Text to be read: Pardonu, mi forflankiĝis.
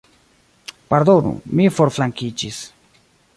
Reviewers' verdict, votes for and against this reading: accepted, 2, 0